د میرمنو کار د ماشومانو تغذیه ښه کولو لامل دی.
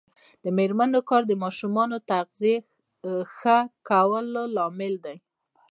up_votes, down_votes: 1, 2